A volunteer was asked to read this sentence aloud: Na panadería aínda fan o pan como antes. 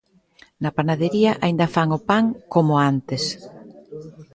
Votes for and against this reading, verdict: 2, 0, accepted